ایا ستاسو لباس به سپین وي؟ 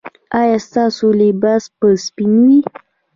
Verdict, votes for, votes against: accepted, 2, 0